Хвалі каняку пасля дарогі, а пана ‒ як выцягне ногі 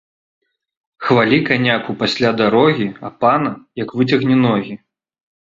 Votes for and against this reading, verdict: 2, 0, accepted